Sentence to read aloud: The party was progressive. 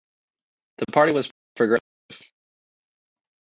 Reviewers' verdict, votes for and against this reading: rejected, 0, 2